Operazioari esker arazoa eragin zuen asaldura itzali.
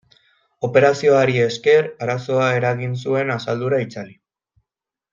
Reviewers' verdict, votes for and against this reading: accepted, 2, 0